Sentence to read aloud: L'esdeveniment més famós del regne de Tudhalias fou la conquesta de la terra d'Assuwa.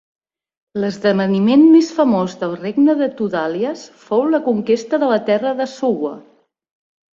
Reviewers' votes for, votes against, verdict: 2, 0, accepted